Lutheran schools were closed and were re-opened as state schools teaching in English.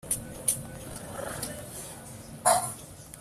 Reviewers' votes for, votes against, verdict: 0, 2, rejected